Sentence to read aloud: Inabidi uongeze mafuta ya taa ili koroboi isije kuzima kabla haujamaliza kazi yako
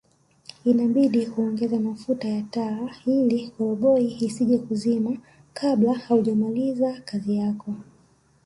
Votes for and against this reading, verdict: 0, 2, rejected